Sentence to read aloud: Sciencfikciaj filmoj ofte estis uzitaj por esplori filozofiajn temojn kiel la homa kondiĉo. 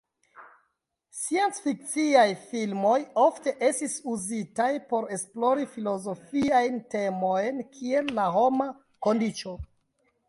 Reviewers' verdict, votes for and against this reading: accepted, 2, 1